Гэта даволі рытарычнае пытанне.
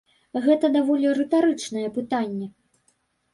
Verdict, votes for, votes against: accepted, 2, 0